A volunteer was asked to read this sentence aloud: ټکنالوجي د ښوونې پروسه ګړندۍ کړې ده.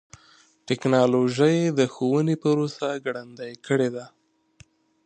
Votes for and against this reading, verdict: 2, 0, accepted